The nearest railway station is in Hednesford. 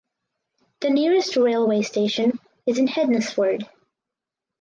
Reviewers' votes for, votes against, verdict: 4, 0, accepted